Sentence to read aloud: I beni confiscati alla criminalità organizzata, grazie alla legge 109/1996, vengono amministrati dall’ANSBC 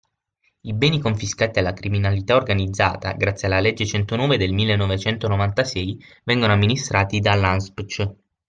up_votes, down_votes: 0, 2